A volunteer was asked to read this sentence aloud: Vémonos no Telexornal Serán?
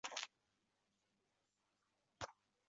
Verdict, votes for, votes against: rejected, 0, 2